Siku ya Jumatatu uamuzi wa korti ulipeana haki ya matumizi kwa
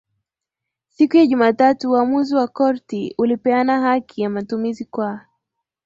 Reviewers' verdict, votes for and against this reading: accepted, 2, 0